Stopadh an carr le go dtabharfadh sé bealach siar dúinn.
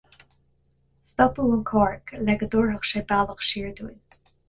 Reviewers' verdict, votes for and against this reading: accepted, 4, 0